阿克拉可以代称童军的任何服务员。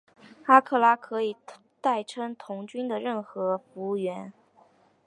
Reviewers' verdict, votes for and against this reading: accepted, 3, 0